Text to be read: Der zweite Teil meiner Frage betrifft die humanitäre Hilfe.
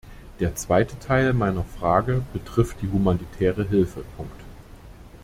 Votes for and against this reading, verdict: 1, 2, rejected